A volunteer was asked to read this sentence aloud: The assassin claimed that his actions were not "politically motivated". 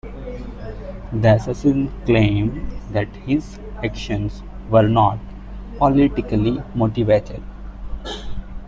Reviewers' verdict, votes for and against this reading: accepted, 2, 1